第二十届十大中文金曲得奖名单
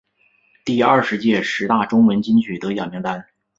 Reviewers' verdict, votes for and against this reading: accepted, 2, 0